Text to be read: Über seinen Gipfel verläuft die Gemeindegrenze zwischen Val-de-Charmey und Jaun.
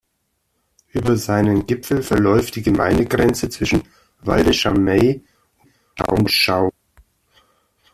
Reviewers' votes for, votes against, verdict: 0, 2, rejected